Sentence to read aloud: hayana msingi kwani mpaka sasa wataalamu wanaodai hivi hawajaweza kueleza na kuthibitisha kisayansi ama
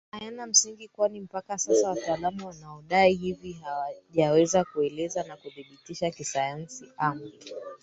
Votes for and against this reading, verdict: 2, 3, rejected